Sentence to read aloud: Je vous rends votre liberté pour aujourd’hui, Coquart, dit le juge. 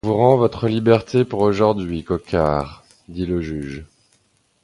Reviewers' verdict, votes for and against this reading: accepted, 2, 0